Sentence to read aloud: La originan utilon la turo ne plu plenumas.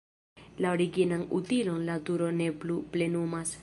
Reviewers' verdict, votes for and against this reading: rejected, 1, 2